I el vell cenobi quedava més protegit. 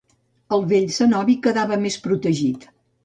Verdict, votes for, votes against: rejected, 1, 2